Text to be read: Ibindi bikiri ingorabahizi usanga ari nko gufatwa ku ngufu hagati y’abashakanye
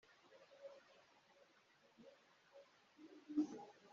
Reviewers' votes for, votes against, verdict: 0, 2, rejected